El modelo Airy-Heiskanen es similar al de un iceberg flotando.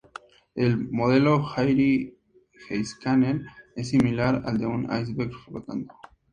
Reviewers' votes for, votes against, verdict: 2, 0, accepted